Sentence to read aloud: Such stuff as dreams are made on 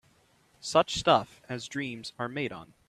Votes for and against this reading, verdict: 2, 0, accepted